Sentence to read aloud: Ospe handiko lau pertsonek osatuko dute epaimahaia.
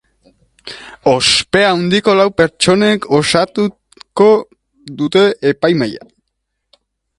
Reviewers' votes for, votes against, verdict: 1, 2, rejected